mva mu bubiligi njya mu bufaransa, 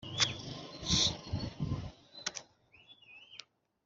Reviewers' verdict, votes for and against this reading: rejected, 0, 2